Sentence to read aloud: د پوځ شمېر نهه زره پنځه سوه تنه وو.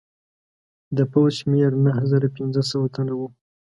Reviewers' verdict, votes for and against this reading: accepted, 2, 0